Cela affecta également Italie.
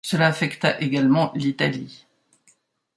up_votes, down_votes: 1, 2